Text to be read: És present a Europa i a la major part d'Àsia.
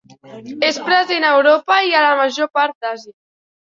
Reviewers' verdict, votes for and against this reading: accepted, 3, 1